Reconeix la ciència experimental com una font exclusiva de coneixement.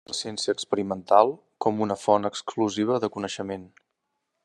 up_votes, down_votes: 0, 2